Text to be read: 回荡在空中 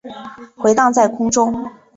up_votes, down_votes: 3, 0